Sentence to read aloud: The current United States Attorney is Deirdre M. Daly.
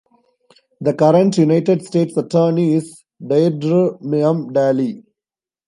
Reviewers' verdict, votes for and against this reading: rejected, 1, 2